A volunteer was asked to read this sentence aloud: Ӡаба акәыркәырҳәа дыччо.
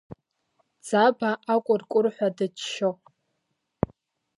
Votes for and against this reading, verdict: 2, 0, accepted